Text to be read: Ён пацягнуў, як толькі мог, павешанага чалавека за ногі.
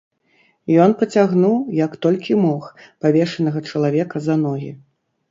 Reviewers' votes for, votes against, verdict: 2, 0, accepted